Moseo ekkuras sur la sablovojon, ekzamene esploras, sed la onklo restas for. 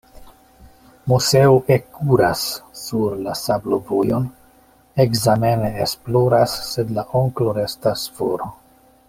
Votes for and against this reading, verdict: 2, 0, accepted